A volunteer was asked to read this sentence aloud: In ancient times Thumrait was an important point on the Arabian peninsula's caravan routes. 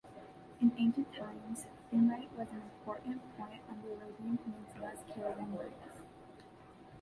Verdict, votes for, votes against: rejected, 0, 2